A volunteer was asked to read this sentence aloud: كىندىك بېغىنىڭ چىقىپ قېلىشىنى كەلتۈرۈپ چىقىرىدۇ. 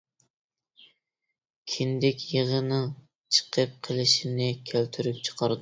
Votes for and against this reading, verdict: 0, 2, rejected